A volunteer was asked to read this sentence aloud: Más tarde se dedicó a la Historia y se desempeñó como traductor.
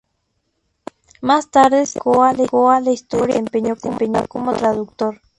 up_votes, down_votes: 0, 2